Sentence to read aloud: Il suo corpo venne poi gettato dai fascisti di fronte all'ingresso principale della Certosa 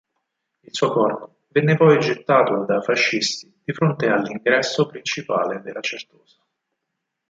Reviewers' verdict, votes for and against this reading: rejected, 2, 4